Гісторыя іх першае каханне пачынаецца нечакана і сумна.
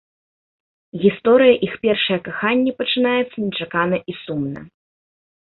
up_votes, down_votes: 2, 0